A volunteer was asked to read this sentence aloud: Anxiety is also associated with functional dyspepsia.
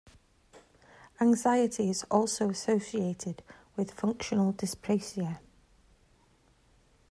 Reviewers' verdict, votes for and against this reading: rejected, 1, 2